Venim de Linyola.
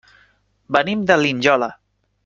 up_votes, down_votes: 1, 2